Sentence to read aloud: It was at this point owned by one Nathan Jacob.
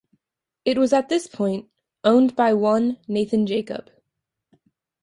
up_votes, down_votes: 2, 0